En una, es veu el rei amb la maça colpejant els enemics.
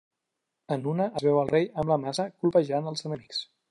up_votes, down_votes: 2, 1